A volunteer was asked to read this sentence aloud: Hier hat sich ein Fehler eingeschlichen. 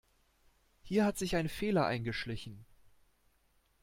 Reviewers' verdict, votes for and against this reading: accepted, 3, 0